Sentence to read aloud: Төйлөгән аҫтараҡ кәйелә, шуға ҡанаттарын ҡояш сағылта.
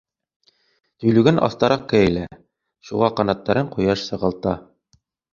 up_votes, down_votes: 2, 1